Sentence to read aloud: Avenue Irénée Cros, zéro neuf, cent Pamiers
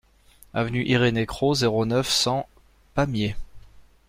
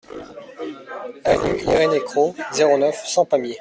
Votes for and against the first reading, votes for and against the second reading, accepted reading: 2, 0, 0, 2, first